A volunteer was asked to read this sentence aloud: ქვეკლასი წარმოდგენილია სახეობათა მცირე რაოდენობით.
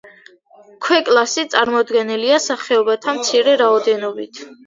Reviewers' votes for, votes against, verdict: 2, 0, accepted